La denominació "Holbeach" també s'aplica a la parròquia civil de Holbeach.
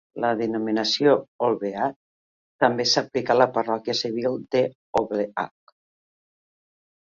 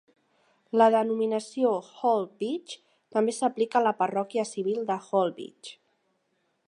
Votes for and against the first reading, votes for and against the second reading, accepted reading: 0, 3, 2, 0, second